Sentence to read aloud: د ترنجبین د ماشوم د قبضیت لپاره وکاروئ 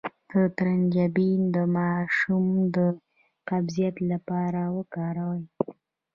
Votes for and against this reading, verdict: 1, 2, rejected